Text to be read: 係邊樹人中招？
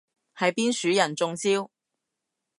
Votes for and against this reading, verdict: 2, 0, accepted